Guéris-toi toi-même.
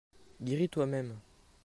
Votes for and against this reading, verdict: 0, 2, rejected